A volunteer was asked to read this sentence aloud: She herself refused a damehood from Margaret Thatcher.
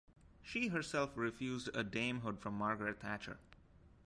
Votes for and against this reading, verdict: 1, 2, rejected